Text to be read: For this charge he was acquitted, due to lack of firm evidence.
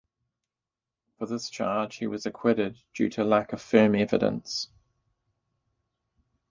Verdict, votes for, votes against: accepted, 2, 0